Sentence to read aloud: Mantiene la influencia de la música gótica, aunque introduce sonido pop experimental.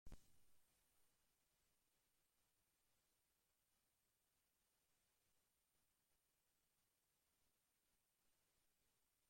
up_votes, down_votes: 0, 2